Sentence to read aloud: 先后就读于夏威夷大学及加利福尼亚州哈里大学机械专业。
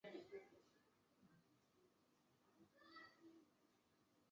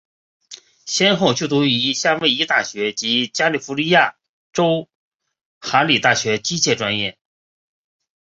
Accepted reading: second